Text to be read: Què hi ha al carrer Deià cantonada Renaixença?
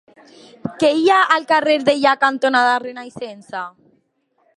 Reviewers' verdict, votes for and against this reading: accepted, 2, 0